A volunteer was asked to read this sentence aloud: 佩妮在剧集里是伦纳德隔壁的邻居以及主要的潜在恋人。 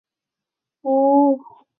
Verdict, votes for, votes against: rejected, 3, 5